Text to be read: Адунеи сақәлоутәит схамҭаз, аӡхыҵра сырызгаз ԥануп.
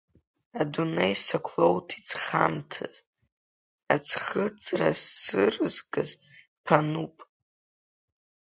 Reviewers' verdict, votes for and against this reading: rejected, 1, 2